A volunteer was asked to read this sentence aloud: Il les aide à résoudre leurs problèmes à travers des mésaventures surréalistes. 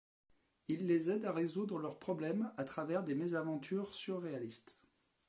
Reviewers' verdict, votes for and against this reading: rejected, 0, 2